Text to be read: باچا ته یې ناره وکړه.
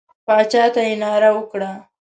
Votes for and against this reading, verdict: 2, 0, accepted